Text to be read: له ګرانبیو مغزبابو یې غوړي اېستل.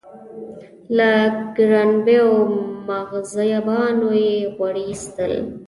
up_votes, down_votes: 1, 2